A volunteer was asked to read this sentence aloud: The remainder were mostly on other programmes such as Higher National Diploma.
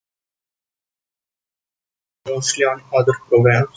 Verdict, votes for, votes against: rejected, 0, 2